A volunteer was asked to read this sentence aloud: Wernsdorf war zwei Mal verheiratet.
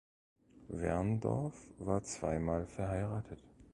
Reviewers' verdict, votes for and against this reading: rejected, 0, 2